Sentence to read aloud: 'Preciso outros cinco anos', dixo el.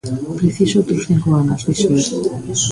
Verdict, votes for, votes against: rejected, 0, 2